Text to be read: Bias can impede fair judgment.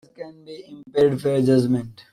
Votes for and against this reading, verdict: 0, 2, rejected